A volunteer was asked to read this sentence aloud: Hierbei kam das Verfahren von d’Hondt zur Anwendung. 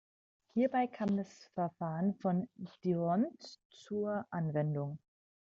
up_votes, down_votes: 2, 1